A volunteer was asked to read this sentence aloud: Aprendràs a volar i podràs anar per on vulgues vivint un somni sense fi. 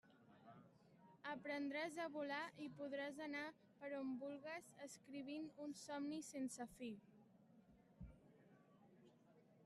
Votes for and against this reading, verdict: 0, 2, rejected